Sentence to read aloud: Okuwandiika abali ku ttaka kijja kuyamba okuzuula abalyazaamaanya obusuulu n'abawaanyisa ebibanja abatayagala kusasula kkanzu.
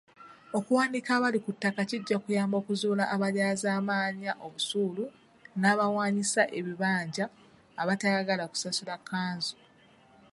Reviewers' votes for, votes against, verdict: 3, 1, accepted